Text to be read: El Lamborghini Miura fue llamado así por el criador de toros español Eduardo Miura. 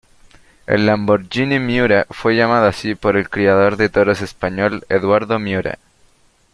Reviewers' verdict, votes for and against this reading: accepted, 2, 0